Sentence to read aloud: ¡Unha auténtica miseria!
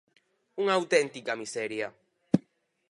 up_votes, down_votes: 4, 0